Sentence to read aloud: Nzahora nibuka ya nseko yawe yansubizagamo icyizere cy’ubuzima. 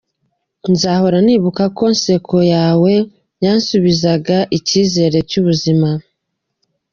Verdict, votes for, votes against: rejected, 1, 2